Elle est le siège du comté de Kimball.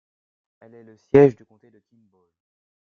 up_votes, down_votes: 0, 2